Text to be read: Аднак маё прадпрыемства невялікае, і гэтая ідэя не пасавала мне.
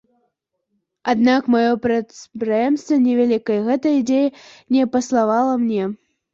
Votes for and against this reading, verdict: 0, 2, rejected